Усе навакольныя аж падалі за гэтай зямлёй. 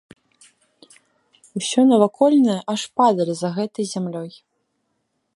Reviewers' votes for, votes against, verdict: 0, 2, rejected